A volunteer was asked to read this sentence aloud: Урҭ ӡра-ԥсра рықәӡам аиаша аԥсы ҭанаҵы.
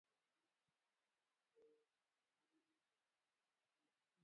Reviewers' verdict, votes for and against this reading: rejected, 0, 2